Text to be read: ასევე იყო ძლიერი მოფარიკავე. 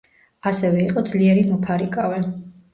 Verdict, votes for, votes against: accepted, 2, 0